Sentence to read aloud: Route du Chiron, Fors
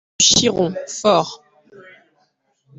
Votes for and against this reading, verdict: 0, 2, rejected